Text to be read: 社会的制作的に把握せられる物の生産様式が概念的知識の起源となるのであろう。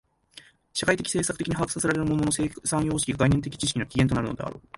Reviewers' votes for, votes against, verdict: 0, 3, rejected